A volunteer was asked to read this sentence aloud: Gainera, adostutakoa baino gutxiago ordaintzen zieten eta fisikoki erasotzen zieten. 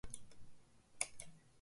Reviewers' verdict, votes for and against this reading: rejected, 0, 2